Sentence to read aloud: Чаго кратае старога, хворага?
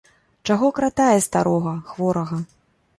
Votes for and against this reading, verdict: 2, 0, accepted